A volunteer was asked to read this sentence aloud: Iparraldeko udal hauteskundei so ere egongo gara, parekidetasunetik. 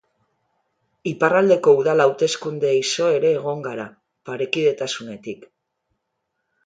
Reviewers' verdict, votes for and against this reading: rejected, 1, 2